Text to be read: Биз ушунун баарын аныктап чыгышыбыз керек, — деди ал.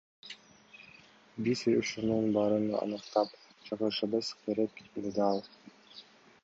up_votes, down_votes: 2, 1